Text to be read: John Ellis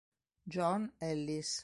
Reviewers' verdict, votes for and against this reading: accepted, 2, 0